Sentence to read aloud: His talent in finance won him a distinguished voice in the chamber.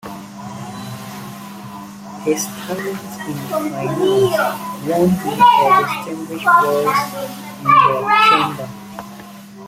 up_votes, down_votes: 1, 2